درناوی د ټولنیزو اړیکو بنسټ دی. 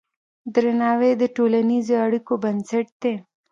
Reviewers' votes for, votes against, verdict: 0, 2, rejected